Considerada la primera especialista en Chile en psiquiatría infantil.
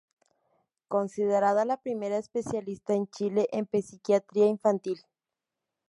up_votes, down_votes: 2, 0